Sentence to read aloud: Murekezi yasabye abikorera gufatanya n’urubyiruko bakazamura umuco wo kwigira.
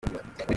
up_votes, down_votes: 0, 2